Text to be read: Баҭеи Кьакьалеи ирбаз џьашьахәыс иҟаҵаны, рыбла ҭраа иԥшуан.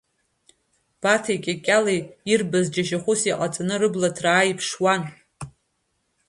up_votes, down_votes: 2, 0